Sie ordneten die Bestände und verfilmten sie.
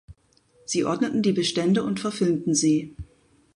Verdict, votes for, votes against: accepted, 2, 0